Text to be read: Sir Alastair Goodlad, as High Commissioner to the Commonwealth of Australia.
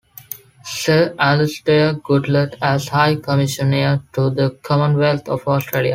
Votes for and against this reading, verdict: 2, 0, accepted